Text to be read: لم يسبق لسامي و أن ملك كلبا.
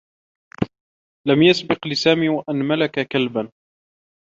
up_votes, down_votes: 2, 0